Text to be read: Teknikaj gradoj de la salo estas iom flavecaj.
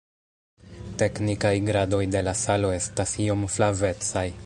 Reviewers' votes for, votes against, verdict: 1, 2, rejected